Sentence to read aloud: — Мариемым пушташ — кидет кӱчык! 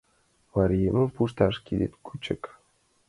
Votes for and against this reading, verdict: 2, 1, accepted